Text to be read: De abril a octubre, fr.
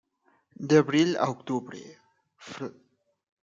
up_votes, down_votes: 1, 2